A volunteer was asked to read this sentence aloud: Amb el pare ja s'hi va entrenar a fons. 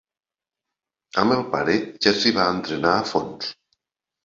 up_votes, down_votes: 2, 0